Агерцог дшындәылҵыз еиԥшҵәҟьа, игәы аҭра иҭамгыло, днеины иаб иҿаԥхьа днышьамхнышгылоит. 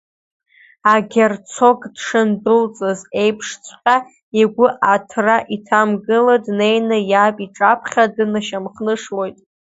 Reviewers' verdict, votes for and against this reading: rejected, 0, 2